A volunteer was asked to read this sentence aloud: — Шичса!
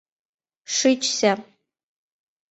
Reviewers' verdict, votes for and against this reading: rejected, 1, 2